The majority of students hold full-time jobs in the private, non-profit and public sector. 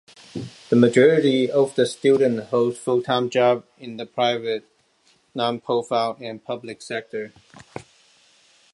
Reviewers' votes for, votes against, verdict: 1, 2, rejected